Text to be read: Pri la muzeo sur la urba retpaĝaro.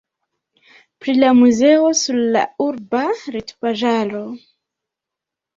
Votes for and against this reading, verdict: 0, 2, rejected